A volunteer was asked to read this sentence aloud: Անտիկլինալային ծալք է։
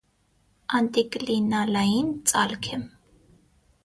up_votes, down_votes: 6, 0